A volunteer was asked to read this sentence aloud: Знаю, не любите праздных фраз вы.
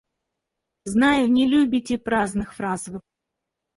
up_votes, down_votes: 2, 4